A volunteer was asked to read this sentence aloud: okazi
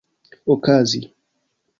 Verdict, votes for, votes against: accepted, 2, 0